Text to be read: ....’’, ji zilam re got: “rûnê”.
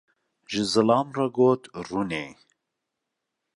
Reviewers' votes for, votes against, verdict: 2, 1, accepted